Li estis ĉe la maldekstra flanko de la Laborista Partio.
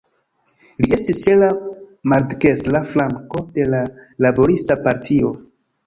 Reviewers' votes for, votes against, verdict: 0, 2, rejected